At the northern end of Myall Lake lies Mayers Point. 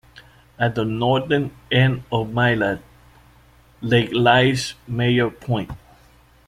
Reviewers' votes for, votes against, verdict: 0, 2, rejected